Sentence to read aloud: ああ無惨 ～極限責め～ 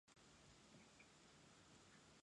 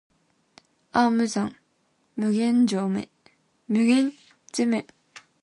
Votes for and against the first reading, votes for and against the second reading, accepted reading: 2, 0, 1, 2, first